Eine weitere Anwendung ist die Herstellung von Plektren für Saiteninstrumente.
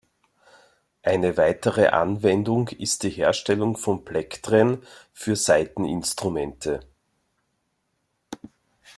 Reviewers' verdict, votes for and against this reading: accepted, 3, 0